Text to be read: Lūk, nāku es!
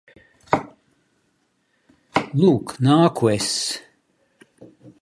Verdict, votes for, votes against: accepted, 2, 0